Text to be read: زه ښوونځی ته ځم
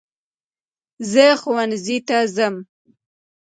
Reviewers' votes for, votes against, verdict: 2, 0, accepted